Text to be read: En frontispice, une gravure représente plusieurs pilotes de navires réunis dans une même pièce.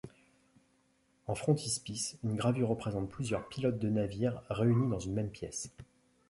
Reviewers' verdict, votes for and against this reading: accepted, 2, 0